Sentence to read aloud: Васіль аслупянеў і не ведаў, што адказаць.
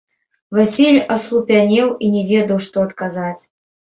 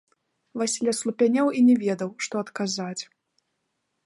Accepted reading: second